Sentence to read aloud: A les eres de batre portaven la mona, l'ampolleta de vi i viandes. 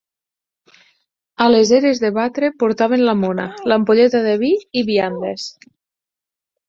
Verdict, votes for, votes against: accepted, 6, 0